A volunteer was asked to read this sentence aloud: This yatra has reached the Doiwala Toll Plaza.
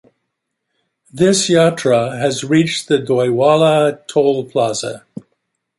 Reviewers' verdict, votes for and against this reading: rejected, 1, 2